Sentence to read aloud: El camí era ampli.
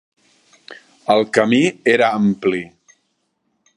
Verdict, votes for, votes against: accepted, 3, 0